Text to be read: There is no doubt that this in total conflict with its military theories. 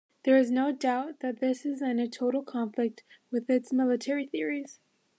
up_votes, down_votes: 0, 2